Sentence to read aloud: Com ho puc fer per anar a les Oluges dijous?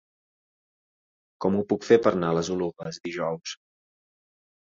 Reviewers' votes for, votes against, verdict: 0, 2, rejected